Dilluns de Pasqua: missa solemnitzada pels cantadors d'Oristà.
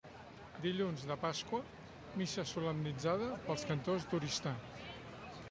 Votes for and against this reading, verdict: 0, 2, rejected